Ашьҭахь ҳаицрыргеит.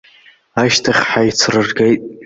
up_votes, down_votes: 1, 2